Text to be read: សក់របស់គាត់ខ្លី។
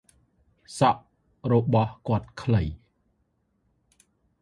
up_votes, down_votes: 2, 0